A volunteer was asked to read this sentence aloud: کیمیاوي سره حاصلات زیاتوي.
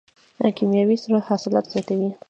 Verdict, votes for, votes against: rejected, 1, 2